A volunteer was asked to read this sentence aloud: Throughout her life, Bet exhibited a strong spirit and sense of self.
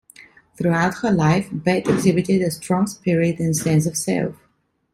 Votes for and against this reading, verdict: 2, 0, accepted